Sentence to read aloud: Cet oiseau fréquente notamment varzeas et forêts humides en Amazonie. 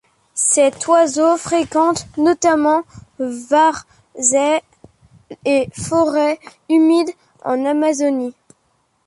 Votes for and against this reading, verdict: 1, 2, rejected